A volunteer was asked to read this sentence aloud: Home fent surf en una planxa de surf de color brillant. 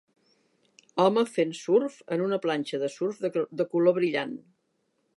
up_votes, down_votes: 0, 2